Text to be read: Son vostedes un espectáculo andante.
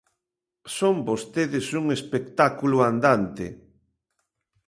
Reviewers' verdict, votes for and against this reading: accepted, 2, 0